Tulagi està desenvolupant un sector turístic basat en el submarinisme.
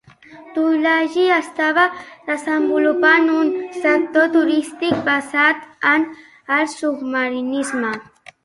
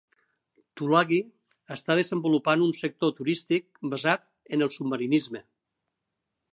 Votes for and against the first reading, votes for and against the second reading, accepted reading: 1, 2, 3, 1, second